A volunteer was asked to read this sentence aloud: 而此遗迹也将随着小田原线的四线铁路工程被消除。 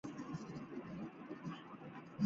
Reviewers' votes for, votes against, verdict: 0, 2, rejected